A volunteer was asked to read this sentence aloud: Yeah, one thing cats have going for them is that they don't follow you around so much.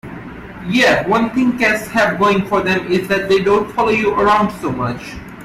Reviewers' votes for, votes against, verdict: 1, 2, rejected